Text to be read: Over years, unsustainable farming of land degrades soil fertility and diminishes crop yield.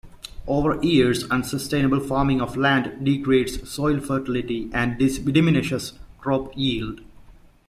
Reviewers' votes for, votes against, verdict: 0, 2, rejected